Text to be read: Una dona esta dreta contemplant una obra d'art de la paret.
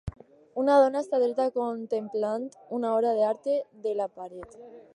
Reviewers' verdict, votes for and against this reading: rejected, 2, 2